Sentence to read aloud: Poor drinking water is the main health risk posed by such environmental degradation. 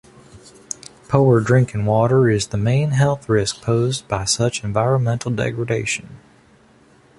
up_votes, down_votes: 2, 0